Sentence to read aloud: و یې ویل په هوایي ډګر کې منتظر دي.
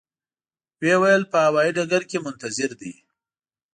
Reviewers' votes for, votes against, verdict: 2, 0, accepted